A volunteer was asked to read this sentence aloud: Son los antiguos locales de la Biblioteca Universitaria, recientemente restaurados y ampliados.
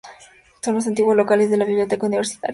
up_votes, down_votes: 0, 4